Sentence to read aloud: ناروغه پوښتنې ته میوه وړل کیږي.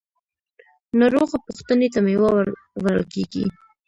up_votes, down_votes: 0, 2